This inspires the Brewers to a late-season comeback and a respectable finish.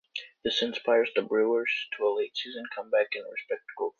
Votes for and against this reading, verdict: 0, 2, rejected